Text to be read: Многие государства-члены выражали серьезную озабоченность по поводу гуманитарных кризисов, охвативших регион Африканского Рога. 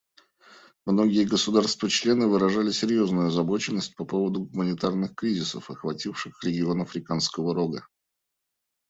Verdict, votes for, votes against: accepted, 2, 0